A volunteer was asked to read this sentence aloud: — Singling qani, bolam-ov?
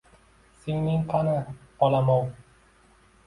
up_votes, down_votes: 2, 0